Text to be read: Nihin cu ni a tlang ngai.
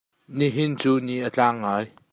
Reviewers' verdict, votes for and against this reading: accepted, 2, 0